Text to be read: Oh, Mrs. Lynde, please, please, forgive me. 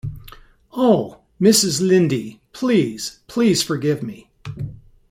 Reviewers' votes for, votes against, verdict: 2, 0, accepted